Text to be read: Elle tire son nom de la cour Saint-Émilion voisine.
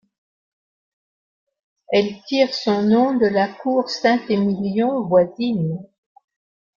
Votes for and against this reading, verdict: 1, 3, rejected